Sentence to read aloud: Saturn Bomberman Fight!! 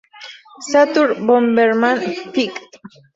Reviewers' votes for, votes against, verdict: 4, 0, accepted